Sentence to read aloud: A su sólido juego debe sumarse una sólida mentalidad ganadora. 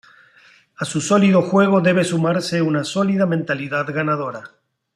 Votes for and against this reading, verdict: 2, 0, accepted